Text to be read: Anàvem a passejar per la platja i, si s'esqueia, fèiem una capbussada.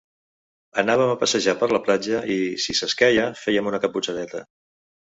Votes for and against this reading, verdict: 0, 2, rejected